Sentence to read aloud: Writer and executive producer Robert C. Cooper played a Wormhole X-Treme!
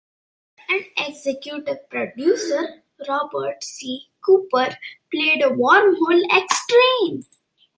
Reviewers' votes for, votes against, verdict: 1, 2, rejected